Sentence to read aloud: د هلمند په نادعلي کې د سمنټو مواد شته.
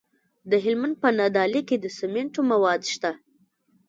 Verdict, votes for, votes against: rejected, 1, 2